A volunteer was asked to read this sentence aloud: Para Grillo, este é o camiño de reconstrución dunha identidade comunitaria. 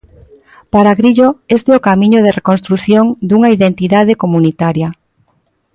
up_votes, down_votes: 2, 0